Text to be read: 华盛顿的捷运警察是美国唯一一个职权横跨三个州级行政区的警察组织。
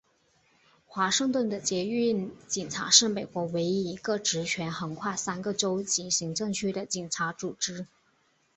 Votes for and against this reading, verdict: 2, 0, accepted